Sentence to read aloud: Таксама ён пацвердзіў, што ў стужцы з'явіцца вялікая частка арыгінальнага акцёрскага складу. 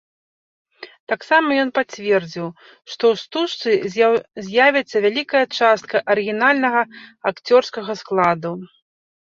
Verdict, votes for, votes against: rejected, 0, 2